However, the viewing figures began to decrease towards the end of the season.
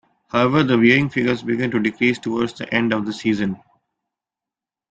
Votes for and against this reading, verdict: 3, 0, accepted